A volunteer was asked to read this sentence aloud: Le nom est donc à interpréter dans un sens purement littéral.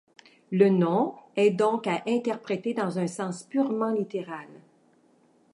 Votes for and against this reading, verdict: 2, 0, accepted